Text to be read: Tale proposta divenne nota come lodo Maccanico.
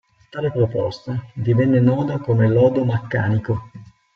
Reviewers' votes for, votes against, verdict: 1, 2, rejected